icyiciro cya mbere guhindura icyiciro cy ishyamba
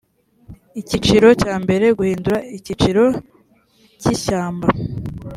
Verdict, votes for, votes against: accepted, 2, 0